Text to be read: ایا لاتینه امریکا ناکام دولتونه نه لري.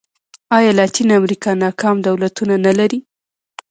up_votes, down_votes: 2, 0